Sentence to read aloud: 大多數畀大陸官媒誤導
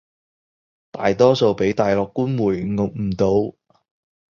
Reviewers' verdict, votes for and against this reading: rejected, 0, 2